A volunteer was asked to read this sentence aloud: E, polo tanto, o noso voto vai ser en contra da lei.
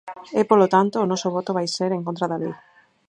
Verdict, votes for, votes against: rejected, 2, 4